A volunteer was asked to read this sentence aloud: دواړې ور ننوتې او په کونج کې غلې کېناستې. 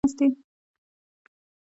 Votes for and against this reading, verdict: 1, 2, rejected